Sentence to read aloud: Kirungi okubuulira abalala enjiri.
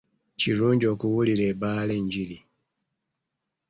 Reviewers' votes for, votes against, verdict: 1, 2, rejected